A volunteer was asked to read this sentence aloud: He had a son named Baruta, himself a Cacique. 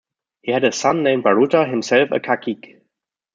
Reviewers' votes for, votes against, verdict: 2, 1, accepted